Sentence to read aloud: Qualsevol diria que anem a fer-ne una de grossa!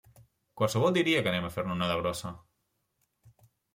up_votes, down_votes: 2, 0